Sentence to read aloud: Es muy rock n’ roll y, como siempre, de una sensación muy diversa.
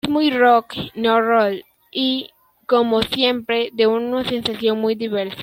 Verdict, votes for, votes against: rejected, 1, 2